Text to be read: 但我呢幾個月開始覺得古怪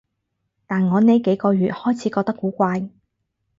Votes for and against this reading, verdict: 4, 0, accepted